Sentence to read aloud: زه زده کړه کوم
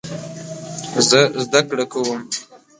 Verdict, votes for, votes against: rejected, 1, 2